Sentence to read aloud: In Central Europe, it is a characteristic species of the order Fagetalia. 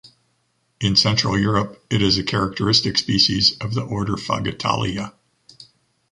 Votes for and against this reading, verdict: 2, 1, accepted